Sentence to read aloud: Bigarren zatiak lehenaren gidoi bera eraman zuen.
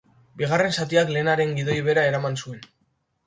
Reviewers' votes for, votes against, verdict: 2, 0, accepted